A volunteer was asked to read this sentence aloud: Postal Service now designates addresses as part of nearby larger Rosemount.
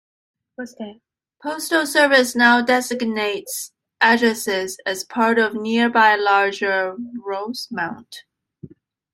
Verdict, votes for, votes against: rejected, 1, 2